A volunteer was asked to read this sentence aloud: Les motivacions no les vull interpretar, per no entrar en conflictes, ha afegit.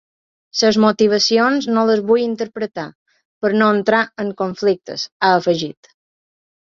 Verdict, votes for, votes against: accepted, 2, 0